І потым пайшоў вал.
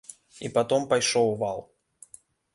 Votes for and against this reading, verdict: 0, 2, rejected